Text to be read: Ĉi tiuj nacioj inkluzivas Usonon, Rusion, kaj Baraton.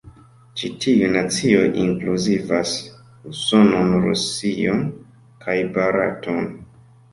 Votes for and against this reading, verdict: 2, 3, rejected